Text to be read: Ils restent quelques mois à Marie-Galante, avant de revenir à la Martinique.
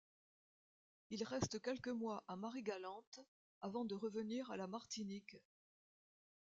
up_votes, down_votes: 0, 2